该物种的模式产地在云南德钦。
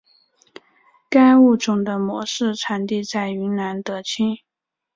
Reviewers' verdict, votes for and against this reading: accepted, 2, 0